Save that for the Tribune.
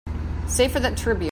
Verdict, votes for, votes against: rejected, 0, 2